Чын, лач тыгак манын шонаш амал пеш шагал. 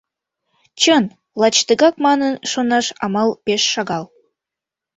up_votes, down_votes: 2, 0